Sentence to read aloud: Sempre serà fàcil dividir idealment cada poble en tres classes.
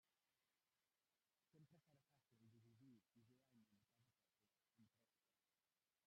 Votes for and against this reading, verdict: 0, 2, rejected